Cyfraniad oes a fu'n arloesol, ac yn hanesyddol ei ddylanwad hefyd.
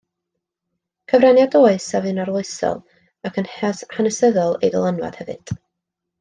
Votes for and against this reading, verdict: 1, 2, rejected